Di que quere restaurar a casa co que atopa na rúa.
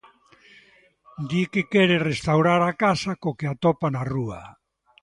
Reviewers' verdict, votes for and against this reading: accepted, 2, 0